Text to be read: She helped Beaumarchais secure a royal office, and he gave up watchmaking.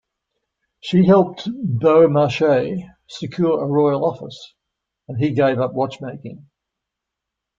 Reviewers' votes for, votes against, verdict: 2, 0, accepted